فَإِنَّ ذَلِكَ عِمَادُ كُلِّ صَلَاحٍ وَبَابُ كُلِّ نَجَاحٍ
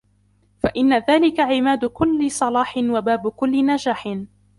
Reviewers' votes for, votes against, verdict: 1, 2, rejected